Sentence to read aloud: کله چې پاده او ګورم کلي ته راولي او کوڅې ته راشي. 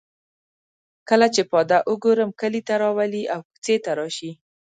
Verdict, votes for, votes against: accepted, 2, 1